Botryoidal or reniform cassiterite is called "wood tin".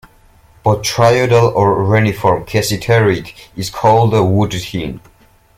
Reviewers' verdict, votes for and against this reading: accepted, 2, 0